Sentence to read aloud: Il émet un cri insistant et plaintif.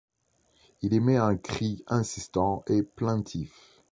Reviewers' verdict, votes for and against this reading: accepted, 2, 0